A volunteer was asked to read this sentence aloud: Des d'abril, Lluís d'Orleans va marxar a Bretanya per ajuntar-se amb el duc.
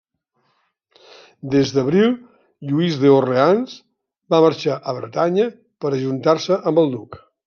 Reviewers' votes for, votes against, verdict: 1, 2, rejected